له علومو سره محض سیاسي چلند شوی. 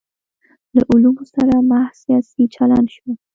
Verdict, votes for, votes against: rejected, 0, 2